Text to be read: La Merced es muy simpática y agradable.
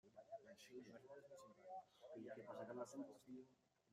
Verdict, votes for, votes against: rejected, 0, 2